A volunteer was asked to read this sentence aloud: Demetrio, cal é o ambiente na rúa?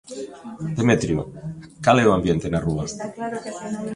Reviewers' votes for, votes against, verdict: 0, 2, rejected